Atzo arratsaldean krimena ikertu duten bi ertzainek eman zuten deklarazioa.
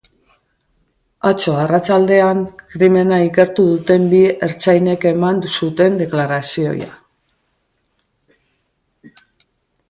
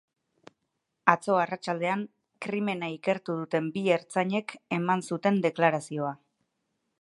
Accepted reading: second